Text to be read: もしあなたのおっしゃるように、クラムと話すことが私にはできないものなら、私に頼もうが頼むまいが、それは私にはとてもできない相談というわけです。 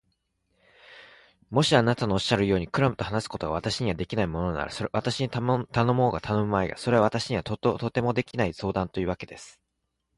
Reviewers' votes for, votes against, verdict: 1, 2, rejected